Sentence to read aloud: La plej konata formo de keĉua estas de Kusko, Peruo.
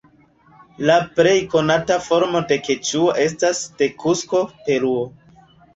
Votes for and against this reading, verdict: 2, 0, accepted